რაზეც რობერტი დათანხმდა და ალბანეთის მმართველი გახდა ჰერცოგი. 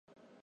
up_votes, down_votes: 0, 2